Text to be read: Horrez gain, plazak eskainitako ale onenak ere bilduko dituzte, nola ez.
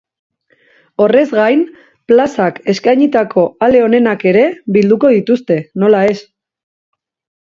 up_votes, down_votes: 2, 0